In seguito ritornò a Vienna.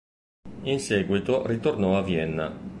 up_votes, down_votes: 3, 0